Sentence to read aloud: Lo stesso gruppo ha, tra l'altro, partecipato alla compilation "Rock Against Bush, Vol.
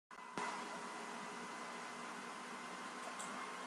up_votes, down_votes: 0, 2